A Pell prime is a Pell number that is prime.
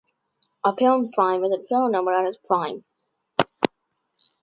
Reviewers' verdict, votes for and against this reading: rejected, 0, 3